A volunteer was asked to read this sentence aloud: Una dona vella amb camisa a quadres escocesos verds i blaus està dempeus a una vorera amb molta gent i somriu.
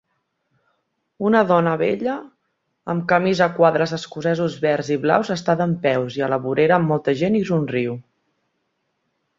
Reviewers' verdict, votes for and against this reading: rejected, 1, 2